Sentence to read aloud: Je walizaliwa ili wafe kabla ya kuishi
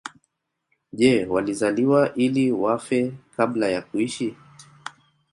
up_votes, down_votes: 1, 2